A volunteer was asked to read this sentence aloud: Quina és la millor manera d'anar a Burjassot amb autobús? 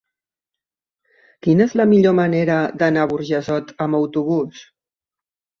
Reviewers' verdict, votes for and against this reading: accepted, 2, 1